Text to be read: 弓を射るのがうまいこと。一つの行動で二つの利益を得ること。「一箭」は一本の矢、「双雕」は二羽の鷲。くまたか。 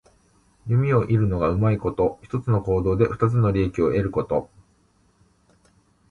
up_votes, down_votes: 1, 2